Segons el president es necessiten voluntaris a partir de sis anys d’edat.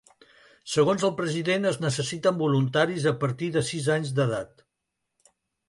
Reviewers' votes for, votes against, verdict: 3, 0, accepted